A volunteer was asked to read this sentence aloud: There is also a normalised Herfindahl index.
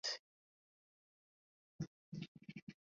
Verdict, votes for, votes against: rejected, 1, 2